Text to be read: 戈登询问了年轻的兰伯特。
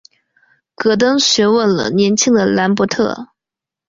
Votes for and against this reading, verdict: 3, 0, accepted